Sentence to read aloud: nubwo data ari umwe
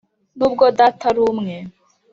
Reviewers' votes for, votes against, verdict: 2, 0, accepted